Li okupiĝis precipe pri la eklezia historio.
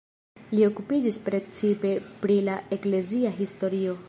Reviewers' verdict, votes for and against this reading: rejected, 0, 2